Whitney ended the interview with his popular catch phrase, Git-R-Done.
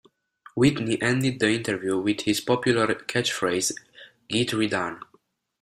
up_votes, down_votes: 1, 2